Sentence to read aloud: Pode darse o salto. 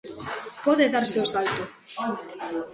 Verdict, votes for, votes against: accepted, 2, 0